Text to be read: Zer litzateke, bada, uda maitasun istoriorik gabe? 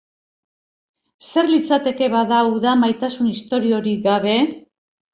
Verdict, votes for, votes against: accepted, 2, 0